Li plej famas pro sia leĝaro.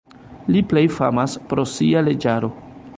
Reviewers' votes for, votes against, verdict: 0, 3, rejected